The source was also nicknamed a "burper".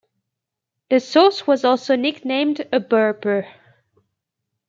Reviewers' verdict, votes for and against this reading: accepted, 2, 1